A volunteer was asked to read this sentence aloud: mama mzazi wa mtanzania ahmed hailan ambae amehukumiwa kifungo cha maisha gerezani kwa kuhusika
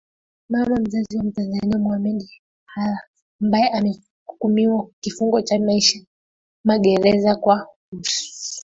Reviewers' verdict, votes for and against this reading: accepted, 2, 0